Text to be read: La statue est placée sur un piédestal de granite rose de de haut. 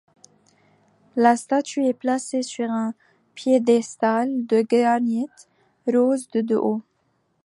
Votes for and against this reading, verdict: 2, 1, accepted